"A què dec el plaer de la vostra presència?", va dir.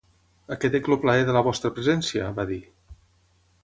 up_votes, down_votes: 0, 6